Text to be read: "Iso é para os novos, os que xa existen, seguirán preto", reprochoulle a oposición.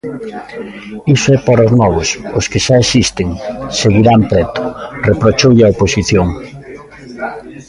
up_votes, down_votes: 2, 0